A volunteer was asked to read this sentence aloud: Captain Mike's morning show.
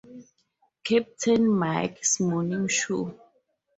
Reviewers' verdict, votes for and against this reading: accepted, 2, 0